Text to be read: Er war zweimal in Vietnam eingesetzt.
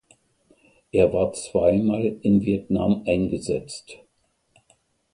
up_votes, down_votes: 2, 0